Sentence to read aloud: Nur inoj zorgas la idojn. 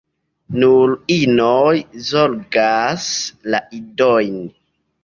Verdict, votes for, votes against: accepted, 2, 0